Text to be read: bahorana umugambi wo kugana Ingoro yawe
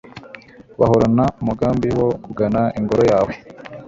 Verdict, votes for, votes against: accepted, 2, 0